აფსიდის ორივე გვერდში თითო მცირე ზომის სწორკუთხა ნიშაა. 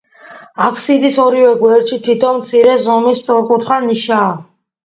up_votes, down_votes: 1, 2